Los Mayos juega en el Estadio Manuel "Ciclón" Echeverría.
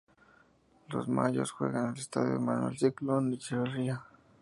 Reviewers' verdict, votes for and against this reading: rejected, 0, 2